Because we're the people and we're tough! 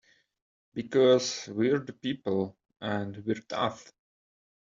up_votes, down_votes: 2, 0